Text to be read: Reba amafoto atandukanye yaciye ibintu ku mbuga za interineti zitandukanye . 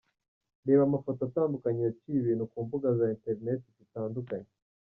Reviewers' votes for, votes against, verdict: 1, 2, rejected